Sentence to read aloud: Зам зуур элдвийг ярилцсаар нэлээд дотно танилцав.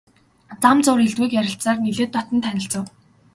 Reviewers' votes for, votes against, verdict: 3, 0, accepted